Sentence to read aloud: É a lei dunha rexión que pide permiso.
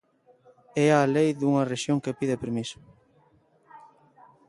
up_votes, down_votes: 2, 0